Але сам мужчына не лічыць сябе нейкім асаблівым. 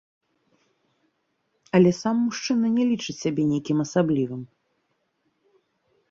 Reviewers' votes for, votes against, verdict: 2, 0, accepted